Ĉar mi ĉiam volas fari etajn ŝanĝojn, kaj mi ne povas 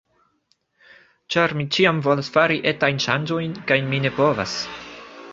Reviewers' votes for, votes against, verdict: 2, 0, accepted